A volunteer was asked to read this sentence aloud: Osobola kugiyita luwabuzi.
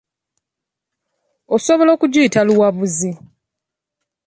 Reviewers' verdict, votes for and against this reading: accepted, 2, 1